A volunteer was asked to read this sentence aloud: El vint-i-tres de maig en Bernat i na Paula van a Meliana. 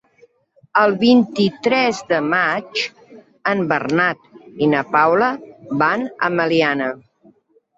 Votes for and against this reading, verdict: 3, 0, accepted